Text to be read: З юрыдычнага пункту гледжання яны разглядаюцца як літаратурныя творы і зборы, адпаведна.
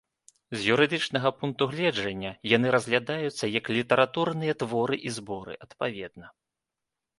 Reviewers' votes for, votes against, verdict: 3, 0, accepted